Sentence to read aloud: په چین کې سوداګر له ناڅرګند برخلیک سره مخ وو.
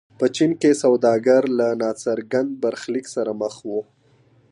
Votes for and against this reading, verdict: 2, 0, accepted